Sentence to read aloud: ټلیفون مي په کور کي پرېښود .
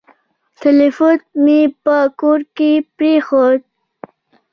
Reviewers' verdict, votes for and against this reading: accepted, 2, 0